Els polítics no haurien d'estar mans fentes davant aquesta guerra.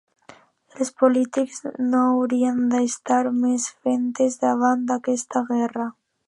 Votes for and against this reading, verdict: 0, 2, rejected